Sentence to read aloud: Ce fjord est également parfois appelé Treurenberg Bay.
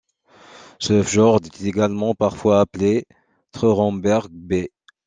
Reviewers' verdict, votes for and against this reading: rejected, 1, 2